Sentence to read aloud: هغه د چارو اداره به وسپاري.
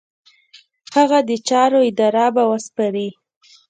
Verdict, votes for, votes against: rejected, 1, 2